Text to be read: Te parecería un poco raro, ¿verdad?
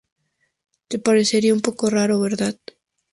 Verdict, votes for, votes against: accepted, 2, 0